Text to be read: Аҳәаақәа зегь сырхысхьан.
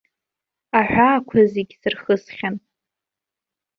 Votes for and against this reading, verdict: 2, 0, accepted